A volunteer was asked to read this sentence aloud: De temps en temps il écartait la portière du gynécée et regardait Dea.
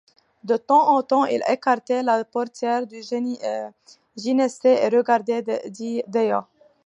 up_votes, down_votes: 0, 2